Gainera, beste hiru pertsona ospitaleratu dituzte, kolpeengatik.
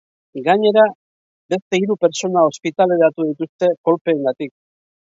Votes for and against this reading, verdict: 2, 0, accepted